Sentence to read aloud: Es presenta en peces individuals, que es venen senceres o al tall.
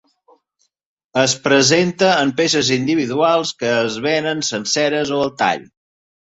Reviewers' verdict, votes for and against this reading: accepted, 2, 0